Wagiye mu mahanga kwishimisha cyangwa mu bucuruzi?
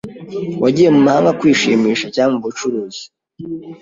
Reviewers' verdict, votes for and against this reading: accepted, 2, 0